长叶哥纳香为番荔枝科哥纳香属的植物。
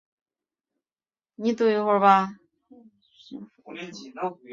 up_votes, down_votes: 0, 2